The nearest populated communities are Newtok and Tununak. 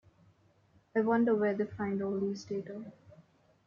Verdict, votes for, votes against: rejected, 0, 2